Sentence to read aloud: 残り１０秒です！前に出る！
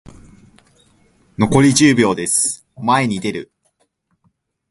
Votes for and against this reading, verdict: 0, 2, rejected